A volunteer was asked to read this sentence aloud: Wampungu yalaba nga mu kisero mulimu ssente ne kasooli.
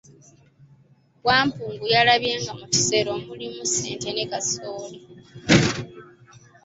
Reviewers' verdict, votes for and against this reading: rejected, 0, 2